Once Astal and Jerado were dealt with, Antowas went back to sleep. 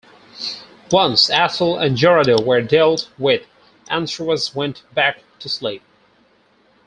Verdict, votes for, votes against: rejected, 2, 2